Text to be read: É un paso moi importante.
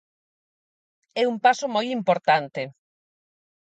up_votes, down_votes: 4, 0